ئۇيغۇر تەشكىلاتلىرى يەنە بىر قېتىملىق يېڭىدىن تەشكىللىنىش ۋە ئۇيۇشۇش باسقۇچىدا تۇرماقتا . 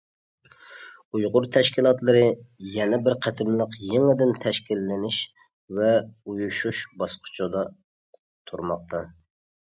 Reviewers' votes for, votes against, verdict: 2, 0, accepted